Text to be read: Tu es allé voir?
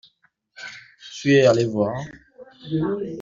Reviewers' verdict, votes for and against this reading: accepted, 2, 0